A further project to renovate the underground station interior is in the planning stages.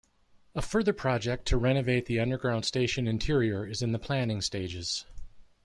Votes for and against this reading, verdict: 0, 2, rejected